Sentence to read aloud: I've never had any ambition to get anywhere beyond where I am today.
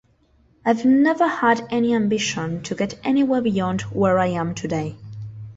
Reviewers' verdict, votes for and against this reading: accepted, 2, 0